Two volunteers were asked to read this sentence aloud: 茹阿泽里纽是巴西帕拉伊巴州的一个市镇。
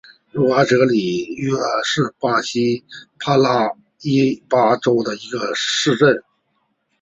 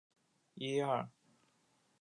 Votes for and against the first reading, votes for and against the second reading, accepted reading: 8, 2, 0, 3, first